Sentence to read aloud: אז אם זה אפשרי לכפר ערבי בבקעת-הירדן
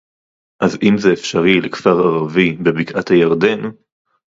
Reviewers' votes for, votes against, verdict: 2, 2, rejected